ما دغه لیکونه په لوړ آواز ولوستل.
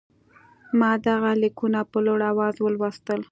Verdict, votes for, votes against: accepted, 2, 0